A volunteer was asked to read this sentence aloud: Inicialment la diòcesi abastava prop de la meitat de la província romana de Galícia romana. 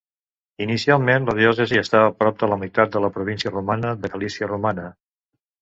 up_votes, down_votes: 0, 2